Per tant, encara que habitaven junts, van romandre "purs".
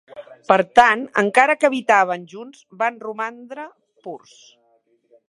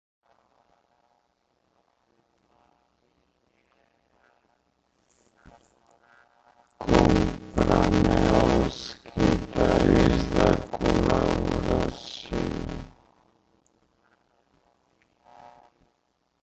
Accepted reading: first